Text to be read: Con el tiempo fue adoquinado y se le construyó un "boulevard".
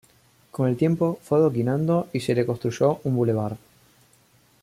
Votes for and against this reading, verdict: 1, 2, rejected